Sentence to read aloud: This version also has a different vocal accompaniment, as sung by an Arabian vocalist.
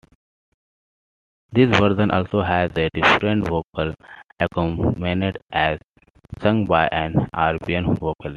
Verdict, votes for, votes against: rejected, 1, 3